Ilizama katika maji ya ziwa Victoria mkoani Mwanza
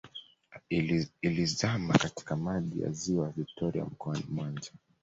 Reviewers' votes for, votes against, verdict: 1, 2, rejected